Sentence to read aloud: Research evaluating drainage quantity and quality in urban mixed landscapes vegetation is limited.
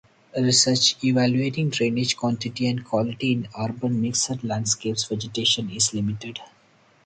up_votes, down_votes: 4, 0